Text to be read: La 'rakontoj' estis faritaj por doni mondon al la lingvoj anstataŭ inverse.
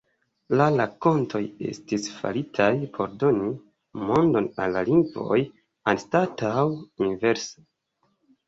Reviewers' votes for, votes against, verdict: 1, 2, rejected